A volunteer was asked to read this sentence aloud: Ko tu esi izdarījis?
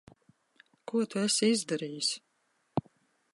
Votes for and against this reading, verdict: 1, 2, rejected